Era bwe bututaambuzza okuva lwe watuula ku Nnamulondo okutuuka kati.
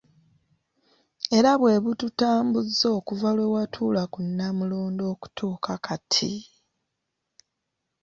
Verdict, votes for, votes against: accepted, 2, 0